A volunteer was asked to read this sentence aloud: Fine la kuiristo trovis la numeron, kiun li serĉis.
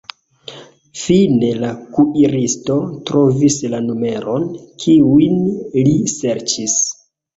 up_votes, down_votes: 0, 2